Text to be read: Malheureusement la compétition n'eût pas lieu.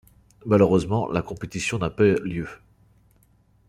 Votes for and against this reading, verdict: 0, 2, rejected